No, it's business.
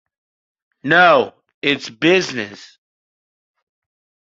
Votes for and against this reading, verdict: 2, 0, accepted